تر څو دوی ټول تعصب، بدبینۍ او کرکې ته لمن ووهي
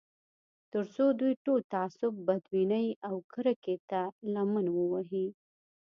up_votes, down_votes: 2, 0